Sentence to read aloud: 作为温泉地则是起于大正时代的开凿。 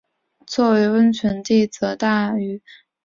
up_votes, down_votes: 7, 3